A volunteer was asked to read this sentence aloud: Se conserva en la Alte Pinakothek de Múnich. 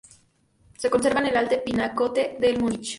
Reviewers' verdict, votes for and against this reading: rejected, 0, 2